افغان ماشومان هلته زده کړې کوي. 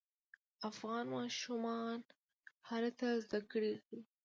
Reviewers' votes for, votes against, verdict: 0, 2, rejected